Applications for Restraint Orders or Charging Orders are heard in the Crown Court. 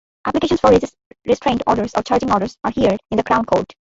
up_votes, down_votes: 2, 1